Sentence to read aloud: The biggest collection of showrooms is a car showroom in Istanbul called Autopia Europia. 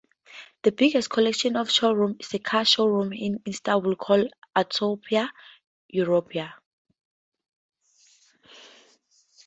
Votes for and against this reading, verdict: 4, 0, accepted